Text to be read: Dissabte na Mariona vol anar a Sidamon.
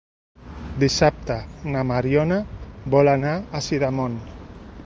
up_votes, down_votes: 2, 0